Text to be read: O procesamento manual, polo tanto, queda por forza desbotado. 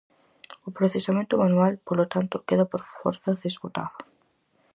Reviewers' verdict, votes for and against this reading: accepted, 4, 0